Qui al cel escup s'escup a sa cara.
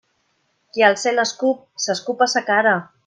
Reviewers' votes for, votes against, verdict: 2, 0, accepted